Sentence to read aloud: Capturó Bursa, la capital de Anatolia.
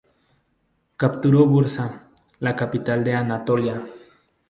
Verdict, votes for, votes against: accepted, 2, 0